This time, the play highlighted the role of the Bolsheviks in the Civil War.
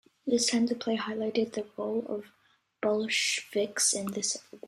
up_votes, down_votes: 1, 2